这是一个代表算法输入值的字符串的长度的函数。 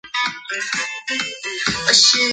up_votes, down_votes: 1, 3